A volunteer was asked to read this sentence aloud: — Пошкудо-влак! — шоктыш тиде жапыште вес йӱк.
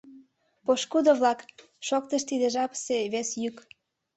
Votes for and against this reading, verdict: 1, 2, rejected